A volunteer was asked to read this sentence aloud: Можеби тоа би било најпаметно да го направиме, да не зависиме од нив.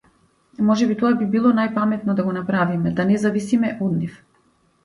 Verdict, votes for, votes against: accepted, 2, 0